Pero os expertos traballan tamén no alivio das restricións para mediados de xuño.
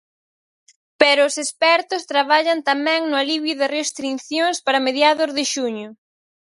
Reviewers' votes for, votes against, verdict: 0, 4, rejected